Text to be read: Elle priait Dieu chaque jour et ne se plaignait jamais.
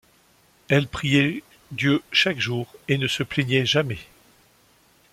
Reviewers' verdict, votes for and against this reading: accepted, 2, 0